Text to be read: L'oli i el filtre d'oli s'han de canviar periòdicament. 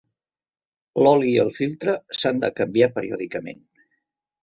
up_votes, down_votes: 1, 3